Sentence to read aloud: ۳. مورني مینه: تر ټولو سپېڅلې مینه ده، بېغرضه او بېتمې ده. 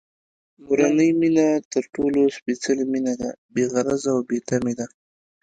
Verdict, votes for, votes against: rejected, 0, 2